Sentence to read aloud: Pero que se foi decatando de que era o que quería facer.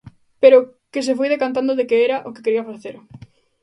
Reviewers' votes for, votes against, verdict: 0, 2, rejected